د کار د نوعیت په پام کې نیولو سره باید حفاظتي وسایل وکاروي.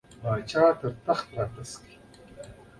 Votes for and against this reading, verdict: 3, 0, accepted